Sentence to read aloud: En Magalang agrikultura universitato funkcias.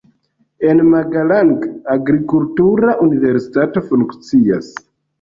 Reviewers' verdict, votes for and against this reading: accepted, 2, 1